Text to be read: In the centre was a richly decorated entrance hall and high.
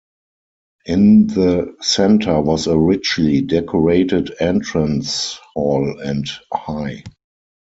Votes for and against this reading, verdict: 2, 4, rejected